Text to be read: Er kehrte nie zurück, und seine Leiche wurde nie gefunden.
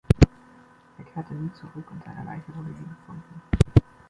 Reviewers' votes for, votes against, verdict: 2, 0, accepted